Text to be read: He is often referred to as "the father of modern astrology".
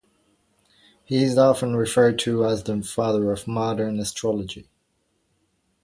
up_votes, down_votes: 2, 0